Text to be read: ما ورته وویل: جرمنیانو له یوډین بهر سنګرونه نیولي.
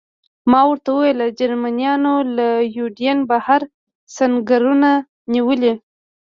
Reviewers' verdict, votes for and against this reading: rejected, 0, 2